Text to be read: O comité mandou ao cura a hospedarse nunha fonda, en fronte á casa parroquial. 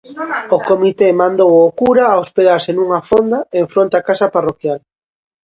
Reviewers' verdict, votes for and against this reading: rejected, 0, 2